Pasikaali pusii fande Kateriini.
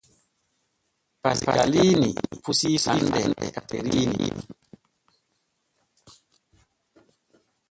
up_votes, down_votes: 0, 2